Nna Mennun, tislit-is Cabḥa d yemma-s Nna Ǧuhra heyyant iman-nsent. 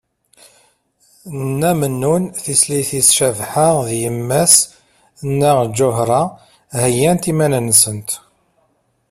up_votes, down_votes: 2, 0